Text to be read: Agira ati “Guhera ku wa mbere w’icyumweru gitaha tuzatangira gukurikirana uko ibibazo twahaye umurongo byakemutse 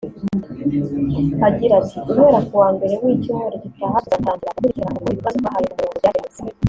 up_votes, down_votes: 0, 2